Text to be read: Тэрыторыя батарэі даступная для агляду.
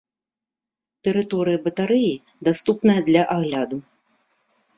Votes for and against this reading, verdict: 3, 0, accepted